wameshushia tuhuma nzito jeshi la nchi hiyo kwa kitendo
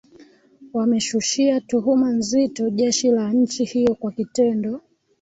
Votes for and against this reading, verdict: 1, 2, rejected